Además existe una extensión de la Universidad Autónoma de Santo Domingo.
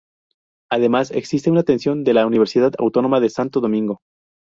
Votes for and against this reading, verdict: 2, 2, rejected